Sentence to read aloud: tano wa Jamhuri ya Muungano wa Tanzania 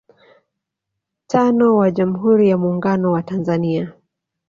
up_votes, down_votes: 5, 2